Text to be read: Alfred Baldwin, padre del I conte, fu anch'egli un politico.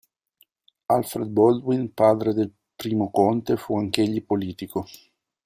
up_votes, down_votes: 0, 2